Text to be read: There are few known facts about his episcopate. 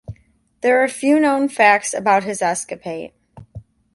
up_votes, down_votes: 1, 2